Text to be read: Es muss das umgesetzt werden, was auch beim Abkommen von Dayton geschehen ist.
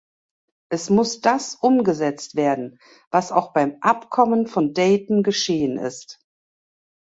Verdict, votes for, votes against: accepted, 3, 0